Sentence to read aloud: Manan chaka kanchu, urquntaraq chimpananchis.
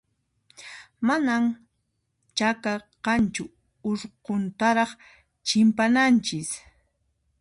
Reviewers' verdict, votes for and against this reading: rejected, 1, 2